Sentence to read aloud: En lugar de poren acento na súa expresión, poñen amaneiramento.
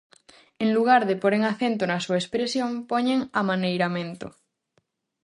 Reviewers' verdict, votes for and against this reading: accepted, 4, 0